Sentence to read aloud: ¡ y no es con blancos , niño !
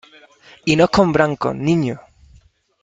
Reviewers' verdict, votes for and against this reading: accepted, 2, 1